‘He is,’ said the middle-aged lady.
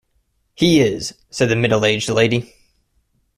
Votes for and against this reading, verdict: 2, 0, accepted